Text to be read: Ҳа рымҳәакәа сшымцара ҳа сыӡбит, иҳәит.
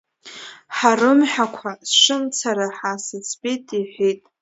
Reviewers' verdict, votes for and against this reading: accepted, 2, 1